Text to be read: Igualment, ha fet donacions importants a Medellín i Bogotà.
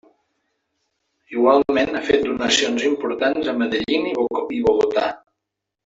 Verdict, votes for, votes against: rejected, 0, 2